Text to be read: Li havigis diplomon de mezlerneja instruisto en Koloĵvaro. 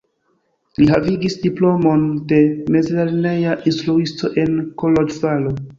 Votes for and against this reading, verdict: 0, 2, rejected